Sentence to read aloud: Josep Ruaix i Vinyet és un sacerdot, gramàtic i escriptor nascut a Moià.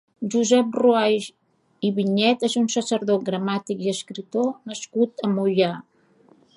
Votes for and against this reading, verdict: 2, 0, accepted